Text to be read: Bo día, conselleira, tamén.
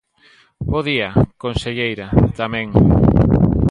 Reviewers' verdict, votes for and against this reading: accepted, 2, 0